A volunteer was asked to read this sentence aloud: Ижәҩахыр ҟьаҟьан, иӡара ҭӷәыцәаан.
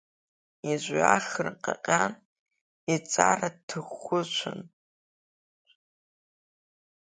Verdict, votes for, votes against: rejected, 0, 2